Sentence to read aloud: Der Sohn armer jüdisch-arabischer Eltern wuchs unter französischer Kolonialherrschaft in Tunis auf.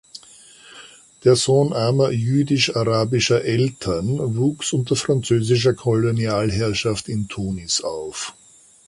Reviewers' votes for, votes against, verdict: 2, 0, accepted